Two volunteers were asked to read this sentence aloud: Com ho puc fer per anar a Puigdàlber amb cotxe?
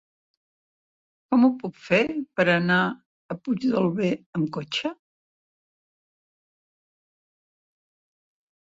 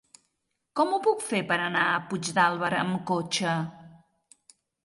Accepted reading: second